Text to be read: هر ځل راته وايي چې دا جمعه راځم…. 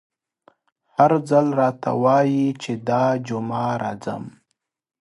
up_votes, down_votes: 2, 0